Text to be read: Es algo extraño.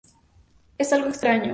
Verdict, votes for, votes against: accepted, 2, 0